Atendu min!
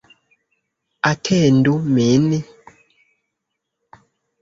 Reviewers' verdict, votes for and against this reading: rejected, 0, 2